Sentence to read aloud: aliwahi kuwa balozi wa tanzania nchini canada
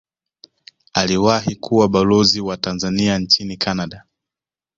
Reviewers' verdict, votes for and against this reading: rejected, 1, 2